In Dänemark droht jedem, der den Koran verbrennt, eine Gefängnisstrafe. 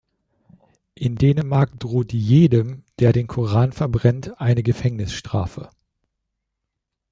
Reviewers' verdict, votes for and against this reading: accepted, 2, 0